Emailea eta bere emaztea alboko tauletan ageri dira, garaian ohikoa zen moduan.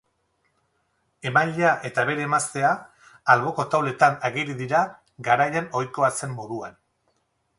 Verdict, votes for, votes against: accepted, 6, 0